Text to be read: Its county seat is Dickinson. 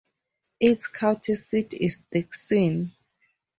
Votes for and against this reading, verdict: 0, 4, rejected